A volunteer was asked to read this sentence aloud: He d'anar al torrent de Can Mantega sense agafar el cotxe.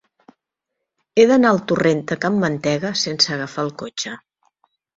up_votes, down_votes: 2, 0